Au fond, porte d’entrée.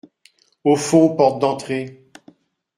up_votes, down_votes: 2, 0